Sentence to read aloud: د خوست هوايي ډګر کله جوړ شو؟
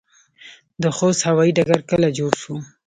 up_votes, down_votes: 2, 0